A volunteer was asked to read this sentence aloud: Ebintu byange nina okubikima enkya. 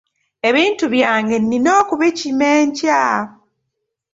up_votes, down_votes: 1, 2